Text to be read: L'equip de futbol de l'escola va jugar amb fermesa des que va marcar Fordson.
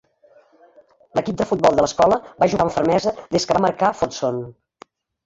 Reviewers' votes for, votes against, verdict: 0, 2, rejected